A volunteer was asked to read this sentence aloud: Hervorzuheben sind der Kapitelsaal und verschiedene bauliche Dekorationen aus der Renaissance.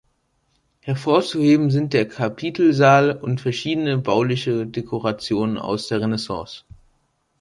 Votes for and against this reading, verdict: 2, 0, accepted